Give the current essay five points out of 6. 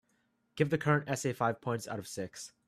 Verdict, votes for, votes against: rejected, 0, 2